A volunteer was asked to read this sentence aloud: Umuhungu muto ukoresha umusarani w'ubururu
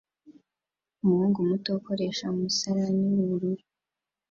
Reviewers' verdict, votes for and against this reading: accepted, 2, 0